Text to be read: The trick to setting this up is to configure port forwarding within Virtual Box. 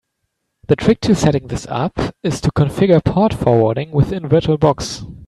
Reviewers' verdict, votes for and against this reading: accepted, 2, 0